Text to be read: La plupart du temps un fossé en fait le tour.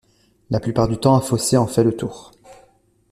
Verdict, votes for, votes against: accepted, 2, 0